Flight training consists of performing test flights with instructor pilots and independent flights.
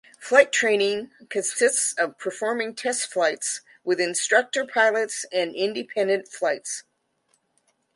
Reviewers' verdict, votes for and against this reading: accepted, 2, 0